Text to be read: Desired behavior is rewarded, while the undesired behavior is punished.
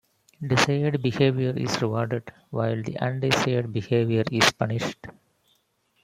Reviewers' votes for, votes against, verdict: 0, 2, rejected